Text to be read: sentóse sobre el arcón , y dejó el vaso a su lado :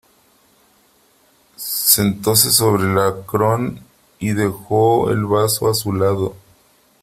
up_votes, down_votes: 0, 3